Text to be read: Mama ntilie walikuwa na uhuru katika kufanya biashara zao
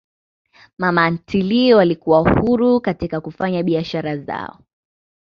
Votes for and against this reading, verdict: 2, 0, accepted